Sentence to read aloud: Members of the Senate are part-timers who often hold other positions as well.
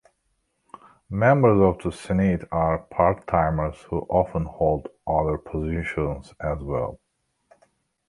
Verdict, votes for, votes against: rejected, 1, 2